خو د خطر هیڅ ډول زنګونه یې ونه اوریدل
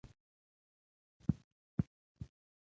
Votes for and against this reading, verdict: 1, 3, rejected